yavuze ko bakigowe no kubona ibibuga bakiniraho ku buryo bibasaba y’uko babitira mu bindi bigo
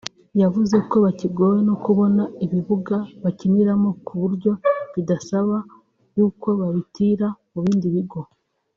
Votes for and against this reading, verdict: 1, 2, rejected